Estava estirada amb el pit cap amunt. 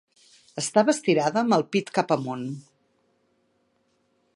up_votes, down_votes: 3, 0